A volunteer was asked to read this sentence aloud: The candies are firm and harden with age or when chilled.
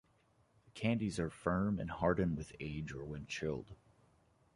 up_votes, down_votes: 0, 2